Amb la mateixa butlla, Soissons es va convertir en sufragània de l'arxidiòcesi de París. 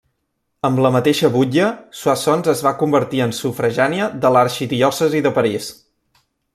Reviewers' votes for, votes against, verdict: 1, 2, rejected